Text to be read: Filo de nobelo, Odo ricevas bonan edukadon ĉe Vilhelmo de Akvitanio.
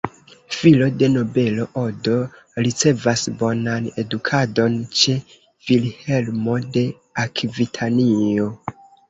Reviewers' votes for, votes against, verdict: 0, 2, rejected